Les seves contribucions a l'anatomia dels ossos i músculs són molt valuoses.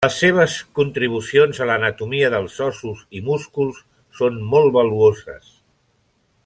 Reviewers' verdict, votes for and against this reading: accepted, 3, 0